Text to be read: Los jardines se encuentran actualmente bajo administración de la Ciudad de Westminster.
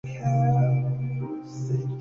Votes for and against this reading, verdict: 0, 2, rejected